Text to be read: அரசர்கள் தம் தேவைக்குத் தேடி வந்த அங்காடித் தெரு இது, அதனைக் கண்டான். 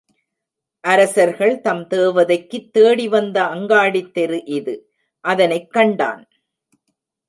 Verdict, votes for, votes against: rejected, 0, 2